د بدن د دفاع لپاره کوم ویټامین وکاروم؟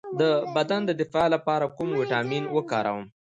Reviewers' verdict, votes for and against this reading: accepted, 2, 0